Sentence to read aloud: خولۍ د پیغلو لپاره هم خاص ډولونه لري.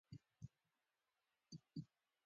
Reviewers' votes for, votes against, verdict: 2, 0, accepted